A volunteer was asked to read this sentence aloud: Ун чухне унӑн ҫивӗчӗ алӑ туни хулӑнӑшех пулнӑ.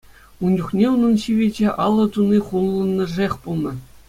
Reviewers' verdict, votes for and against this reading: accepted, 2, 1